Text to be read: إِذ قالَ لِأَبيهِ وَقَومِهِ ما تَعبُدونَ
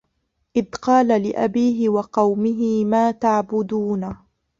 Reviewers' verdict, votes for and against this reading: rejected, 0, 2